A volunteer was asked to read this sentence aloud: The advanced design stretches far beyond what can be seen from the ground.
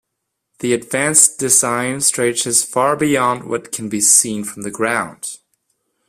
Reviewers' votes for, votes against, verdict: 2, 0, accepted